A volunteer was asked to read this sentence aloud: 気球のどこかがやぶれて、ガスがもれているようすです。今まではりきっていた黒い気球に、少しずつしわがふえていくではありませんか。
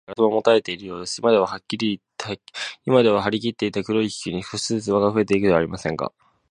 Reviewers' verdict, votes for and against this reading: rejected, 0, 2